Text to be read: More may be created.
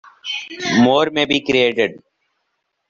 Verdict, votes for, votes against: accepted, 2, 0